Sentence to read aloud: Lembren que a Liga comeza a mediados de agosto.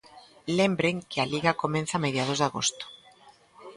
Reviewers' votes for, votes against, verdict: 0, 2, rejected